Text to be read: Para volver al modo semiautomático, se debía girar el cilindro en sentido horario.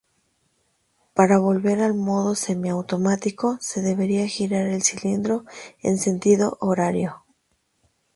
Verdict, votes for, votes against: rejected, 0, 2